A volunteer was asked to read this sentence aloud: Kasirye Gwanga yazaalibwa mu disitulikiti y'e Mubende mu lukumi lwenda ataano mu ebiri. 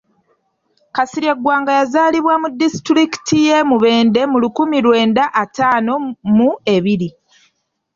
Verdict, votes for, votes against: accepted, 2, 0